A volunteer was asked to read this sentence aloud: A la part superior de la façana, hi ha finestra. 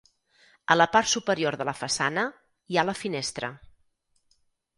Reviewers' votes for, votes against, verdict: 4, 6, rejected